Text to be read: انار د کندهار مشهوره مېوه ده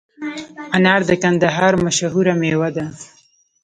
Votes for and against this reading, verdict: 2, 0, accepted